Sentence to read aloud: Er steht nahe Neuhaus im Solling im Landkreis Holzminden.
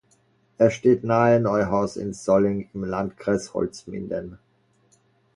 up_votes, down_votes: 2, 0